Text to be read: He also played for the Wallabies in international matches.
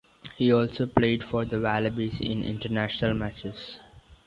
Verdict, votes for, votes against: accepted, 2, 1